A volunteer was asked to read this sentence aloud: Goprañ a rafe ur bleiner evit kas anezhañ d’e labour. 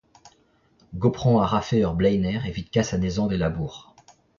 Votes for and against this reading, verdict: 0, 2, rejected